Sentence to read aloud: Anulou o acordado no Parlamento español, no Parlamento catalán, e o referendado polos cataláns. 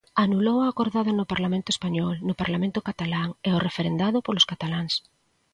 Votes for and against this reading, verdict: 2, 0, accepted